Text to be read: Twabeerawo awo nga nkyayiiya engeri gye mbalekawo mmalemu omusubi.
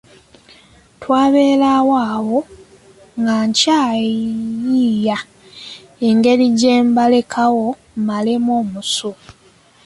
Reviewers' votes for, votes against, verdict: 2, 3, rejected